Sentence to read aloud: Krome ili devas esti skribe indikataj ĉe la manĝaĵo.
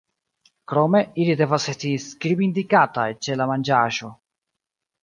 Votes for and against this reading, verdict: 0, 2, rejected